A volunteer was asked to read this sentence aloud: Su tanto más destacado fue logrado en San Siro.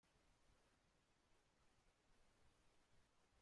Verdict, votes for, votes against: rejected, 0, 2